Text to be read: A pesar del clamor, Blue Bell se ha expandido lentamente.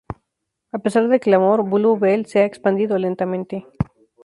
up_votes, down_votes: 2, 0